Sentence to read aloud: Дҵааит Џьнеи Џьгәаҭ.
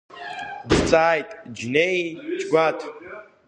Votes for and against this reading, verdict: 2, 3, rejected